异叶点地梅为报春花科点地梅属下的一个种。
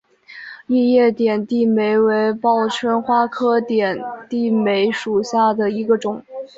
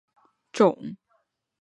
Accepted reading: first